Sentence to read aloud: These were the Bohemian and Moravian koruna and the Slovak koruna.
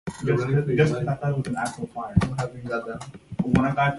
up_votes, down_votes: 0, 2